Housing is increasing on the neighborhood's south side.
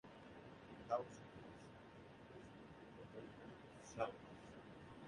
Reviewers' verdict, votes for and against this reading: rejected, 1, 2